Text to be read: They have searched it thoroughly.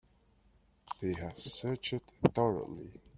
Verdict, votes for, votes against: rejected, 2, 3